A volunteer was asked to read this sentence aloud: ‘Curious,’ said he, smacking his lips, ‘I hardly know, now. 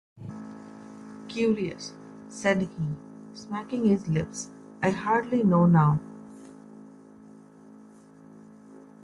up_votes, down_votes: 2, 0